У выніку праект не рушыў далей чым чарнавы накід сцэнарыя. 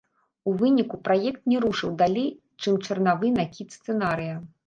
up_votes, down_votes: 0, 2